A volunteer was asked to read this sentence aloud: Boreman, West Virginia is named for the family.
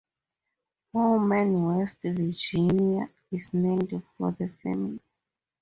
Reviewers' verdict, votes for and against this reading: rejected, 2, 2